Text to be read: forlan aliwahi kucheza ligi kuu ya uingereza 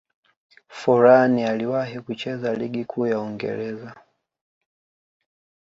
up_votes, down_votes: 0, 2